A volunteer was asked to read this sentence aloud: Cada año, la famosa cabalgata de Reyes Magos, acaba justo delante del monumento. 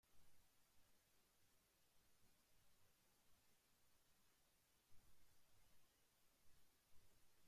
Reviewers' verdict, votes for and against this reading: rejected, 0, 2